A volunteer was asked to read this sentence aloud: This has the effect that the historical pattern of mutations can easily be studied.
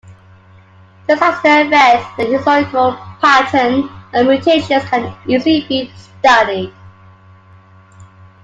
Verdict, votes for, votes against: rejected, 1, 2